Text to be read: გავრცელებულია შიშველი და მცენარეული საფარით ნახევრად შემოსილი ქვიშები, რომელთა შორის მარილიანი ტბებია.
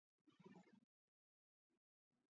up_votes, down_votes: 0, 2